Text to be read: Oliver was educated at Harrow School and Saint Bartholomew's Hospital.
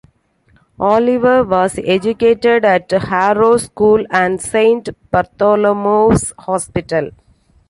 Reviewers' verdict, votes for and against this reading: accepted, 2, 0